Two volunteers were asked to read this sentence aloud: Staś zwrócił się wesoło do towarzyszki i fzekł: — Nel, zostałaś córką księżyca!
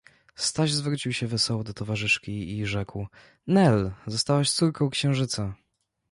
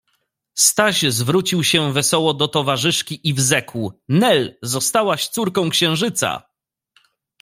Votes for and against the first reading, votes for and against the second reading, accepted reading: 1, 2, 2, 0, second